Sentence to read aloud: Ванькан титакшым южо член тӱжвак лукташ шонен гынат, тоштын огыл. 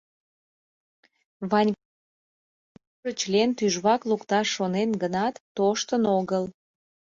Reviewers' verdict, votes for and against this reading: rejected, 0, 2